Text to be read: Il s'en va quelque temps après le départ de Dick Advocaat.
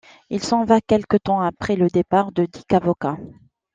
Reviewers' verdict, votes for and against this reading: rejected, 0, 2